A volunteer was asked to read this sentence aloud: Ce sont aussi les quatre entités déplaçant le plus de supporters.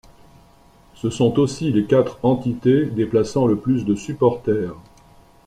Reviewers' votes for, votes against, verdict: 2, 0, accepted